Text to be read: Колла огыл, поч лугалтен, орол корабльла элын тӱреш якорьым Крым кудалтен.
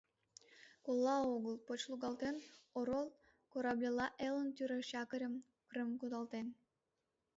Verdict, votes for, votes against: accepted, 2, 0